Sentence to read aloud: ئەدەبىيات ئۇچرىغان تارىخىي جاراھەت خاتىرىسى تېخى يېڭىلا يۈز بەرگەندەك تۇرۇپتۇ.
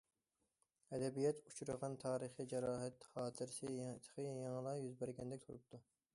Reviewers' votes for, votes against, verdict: 2, 1, accepted